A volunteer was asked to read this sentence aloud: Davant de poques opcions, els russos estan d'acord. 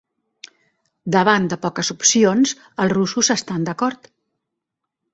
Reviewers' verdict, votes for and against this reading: accepted, 3, 0